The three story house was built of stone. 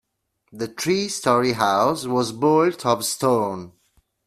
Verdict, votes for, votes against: rejected, 1, 2